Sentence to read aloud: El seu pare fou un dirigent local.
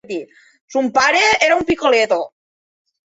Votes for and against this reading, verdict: 0, 2, rejected